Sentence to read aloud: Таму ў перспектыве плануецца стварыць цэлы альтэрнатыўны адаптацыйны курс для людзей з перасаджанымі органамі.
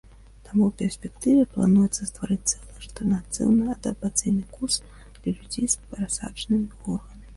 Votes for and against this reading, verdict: 0, 2, rejected